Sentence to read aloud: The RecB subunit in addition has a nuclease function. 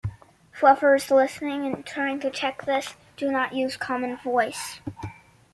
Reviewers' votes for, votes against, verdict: 0, 2, rejected